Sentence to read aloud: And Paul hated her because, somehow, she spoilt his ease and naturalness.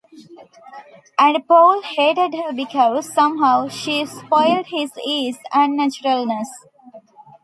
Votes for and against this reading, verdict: 2, 1, accepted